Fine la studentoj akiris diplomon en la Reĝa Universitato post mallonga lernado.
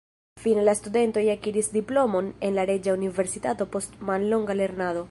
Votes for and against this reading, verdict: 1, 2, rejected